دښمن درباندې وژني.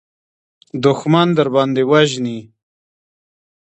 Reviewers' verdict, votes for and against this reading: accepted, 2, 1